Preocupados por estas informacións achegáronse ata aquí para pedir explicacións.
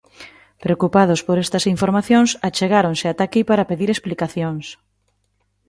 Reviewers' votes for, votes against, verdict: 2, 0, accepted